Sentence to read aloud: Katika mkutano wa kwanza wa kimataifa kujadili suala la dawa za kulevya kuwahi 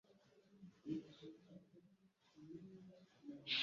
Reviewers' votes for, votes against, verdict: 0, 2, rejected